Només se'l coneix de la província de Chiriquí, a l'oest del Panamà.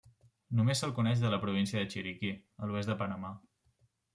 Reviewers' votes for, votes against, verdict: 2, 0, accepted